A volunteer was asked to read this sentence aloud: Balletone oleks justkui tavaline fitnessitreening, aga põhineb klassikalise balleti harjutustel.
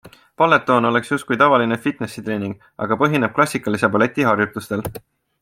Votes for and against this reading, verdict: 2, 0, accepted